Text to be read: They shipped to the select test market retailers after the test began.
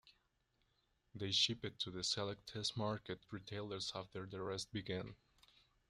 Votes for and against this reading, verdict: 1, 2, rejected